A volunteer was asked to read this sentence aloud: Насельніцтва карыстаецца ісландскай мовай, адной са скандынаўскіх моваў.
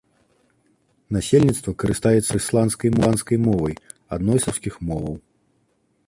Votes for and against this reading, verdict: 0, 3, rejected